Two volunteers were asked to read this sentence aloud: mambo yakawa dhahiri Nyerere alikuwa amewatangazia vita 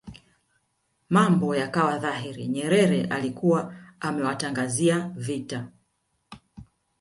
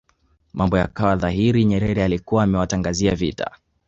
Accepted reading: second